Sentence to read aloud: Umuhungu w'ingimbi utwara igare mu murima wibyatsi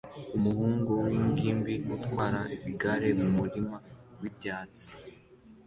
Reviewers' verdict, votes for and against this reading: accepted, 2, 0